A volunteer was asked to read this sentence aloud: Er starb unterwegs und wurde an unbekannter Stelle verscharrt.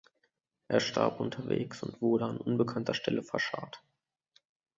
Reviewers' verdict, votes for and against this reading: accepted, 2, 0